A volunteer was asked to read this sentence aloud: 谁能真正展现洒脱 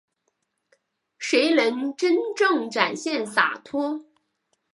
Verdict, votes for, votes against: accepted, 5, 1